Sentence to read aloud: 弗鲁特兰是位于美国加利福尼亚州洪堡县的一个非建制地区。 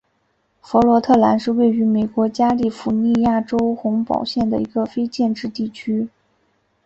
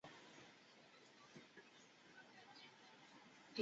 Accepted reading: first